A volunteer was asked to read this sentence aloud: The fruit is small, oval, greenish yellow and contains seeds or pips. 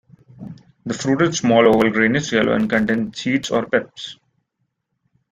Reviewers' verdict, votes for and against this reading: rejected, 0, 2